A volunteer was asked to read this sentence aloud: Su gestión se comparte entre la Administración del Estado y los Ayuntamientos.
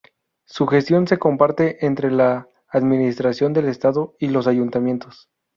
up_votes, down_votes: 2, 0